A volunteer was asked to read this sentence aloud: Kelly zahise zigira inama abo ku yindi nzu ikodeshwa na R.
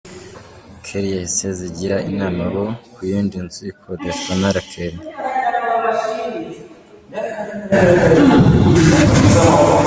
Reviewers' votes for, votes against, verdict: 1, 2, rejected